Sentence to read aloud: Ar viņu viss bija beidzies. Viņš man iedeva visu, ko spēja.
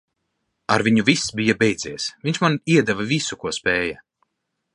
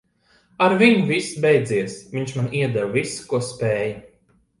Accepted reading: first